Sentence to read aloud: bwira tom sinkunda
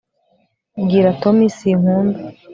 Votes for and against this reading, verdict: 1, 3, rejected